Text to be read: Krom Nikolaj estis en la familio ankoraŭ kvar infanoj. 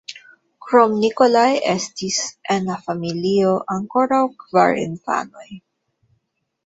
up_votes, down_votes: 2, 0